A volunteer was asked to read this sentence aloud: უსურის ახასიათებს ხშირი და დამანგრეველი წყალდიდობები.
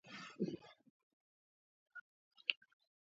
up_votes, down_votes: 1, 2